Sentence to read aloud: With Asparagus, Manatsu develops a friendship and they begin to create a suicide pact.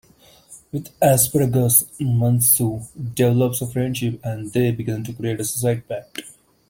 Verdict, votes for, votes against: rejected, 0, 2